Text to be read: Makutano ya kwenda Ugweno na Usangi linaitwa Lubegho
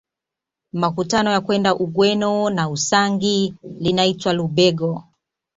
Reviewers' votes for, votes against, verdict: 2, 0, accepted